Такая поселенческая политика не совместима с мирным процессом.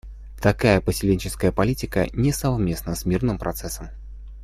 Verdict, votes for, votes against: rejected, 0, 2